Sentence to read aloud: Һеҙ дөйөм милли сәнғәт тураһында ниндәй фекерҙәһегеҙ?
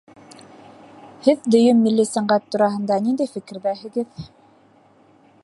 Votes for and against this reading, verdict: 2, 0, accepted